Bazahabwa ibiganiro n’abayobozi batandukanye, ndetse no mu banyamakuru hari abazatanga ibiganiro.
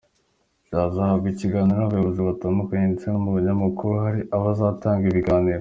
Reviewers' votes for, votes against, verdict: 1, 2, rejected